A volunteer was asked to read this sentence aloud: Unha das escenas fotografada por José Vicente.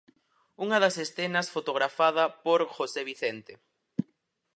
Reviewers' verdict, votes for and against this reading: accepted, 4, 0